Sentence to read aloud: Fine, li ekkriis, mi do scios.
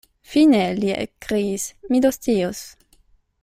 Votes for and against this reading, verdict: 0, 2, rejected